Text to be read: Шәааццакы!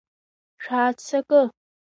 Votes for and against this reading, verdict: 2, 0, accepted